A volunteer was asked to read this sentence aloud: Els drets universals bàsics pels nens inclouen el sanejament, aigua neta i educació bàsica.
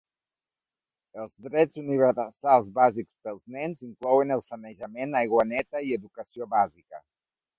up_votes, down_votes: 0, 2